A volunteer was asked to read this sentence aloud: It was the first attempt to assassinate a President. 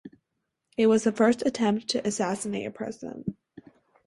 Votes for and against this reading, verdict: 4, 0, accepted